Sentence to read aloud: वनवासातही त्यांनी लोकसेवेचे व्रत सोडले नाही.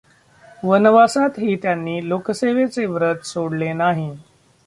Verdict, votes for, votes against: rejected, 0, 2